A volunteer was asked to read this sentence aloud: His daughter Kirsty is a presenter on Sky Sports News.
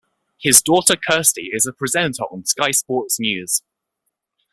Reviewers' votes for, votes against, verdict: 2, 0, accepted